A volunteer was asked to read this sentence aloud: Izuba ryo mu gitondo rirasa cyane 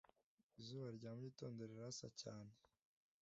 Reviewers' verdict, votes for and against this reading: accepted, 2, 1